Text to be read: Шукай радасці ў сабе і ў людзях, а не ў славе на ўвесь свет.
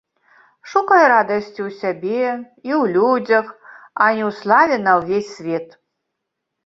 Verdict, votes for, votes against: rejected, 1, 3